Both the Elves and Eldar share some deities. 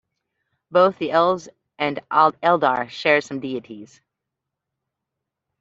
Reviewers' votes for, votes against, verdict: 0, 2, rejected